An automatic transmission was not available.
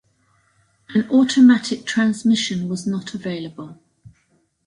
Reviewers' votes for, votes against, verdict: 2, 0, accepted